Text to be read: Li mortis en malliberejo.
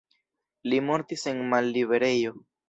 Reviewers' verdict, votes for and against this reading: accepted, 2, 0